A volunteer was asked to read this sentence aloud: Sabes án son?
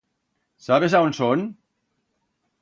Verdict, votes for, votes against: accepted, 2, 0